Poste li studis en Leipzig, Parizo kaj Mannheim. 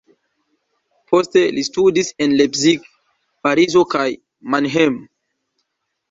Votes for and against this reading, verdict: 1, 2, rejected